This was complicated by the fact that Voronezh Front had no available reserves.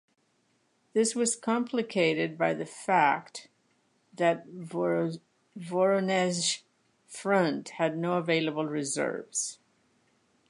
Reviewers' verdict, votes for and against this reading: rejected, 0, 2